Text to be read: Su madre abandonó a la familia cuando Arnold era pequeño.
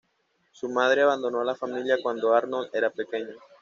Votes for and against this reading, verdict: 2, 0, accepted